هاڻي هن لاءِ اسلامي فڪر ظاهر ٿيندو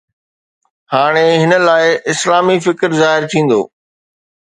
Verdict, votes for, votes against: accepted, 2, 0